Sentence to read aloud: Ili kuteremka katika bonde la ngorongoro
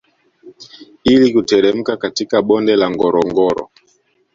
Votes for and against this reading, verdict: 2, 0, accepted